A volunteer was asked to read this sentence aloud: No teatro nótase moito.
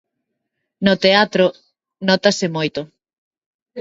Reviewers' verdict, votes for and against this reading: accepted, 2, 0